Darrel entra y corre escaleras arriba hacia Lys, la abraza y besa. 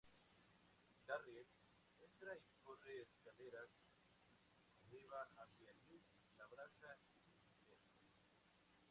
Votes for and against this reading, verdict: 0, 2, rejected